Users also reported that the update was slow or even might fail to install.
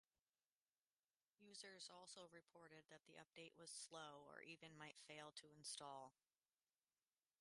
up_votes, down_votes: 0, 4